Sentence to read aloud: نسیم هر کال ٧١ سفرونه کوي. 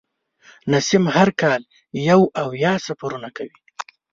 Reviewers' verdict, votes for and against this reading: rejected, 0, 2